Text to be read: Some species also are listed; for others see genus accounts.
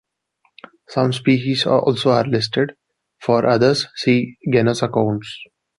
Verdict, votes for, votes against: rejected, 0, 2